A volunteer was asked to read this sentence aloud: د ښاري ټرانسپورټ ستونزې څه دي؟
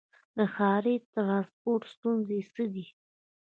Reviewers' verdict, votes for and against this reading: rejected, 1, 2